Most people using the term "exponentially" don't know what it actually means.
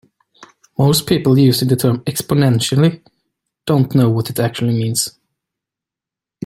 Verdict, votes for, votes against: accepted, 2, 0